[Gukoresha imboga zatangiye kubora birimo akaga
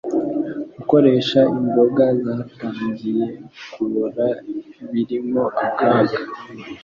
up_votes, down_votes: 2, 0